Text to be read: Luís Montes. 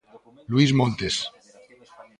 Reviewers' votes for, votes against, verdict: 2, 0, accepted